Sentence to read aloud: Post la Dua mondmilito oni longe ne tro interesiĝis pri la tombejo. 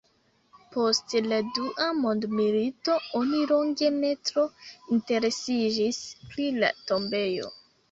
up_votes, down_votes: 0, 2